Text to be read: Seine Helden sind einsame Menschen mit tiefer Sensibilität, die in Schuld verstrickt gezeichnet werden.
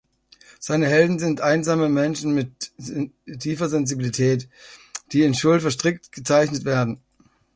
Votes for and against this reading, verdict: 1, 2, rejected